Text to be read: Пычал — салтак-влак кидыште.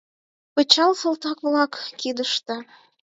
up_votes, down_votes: 4, 0